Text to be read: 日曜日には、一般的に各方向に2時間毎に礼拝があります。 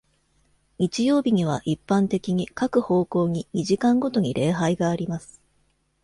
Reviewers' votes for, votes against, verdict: 0, 2, rejected